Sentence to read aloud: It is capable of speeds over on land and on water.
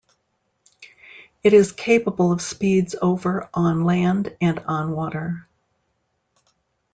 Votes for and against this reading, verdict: 2, 0, accepted